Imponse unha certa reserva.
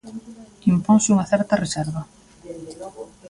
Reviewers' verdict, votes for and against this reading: rejected, 1, 2